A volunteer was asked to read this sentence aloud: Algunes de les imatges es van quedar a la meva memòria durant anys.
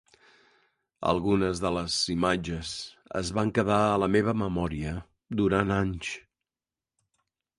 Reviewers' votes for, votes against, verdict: 3, 0, accepted